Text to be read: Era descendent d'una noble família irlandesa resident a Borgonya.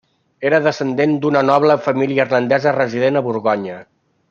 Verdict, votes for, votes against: rejected, 0, 2